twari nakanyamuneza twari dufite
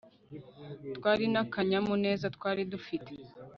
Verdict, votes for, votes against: rejected, 0, 2